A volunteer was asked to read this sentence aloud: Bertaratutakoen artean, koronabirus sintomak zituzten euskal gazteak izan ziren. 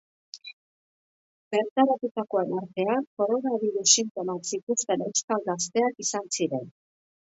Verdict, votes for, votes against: accepted, 2, 0